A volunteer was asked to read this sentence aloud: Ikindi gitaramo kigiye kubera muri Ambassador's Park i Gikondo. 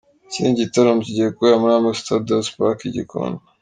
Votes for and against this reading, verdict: 2, 0, accepted